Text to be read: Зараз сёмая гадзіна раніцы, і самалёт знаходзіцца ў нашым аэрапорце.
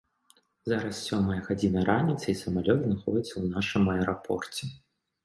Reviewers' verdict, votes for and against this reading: accepted, 2, 0